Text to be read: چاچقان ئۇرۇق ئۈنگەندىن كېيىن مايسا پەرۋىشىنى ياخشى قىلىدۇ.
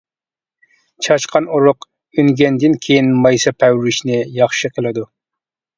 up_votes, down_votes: 2, 0